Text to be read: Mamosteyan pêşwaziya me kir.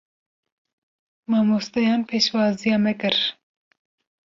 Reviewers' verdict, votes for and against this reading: accepted, 2, 0